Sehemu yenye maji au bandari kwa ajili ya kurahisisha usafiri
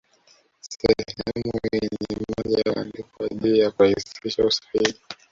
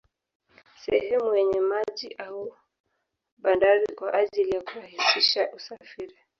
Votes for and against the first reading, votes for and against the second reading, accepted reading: 0, 2, 2, 0, second